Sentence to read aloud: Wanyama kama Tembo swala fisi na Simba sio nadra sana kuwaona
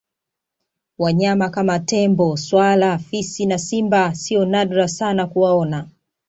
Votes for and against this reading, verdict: 2, 0, accepted